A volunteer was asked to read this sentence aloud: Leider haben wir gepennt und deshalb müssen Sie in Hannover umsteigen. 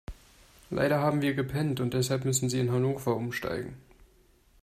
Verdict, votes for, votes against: accepted, 2, 0